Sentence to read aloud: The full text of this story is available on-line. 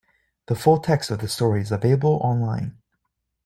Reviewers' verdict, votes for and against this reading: accepted, 2, 0